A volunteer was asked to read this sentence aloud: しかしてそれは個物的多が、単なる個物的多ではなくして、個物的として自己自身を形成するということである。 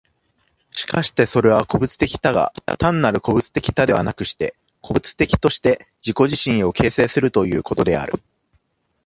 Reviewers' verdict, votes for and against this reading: accepted, 2, 0